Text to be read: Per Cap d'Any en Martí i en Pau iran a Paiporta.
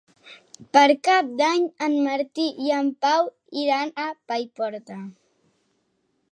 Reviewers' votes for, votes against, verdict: 3, 0, accepted